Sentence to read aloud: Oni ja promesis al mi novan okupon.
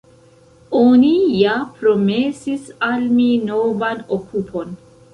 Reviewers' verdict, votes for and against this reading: rejected, 1, 2